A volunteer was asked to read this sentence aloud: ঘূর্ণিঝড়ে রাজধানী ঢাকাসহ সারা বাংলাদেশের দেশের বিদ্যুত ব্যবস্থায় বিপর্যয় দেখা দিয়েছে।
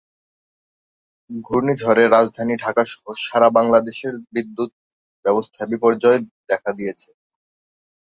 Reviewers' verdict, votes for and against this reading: rejected, 1, 2